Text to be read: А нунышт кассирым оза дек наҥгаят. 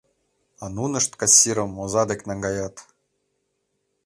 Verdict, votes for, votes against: accepted, 2, 0